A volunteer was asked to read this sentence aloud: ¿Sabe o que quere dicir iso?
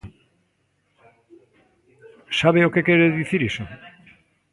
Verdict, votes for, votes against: rejected, 1, 2